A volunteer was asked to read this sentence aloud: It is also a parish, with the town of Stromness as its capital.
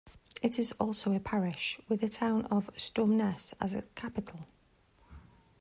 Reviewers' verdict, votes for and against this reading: accepted, 2, 0